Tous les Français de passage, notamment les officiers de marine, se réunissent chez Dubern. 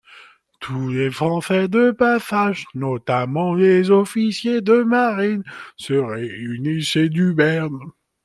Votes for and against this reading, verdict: 2, 1, accepted